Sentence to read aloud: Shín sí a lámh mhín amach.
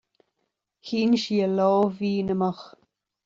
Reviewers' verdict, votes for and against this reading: accepted, 2, 0